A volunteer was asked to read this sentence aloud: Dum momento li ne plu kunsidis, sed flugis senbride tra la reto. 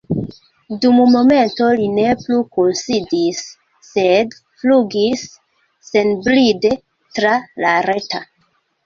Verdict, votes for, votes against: rejected, 0, 2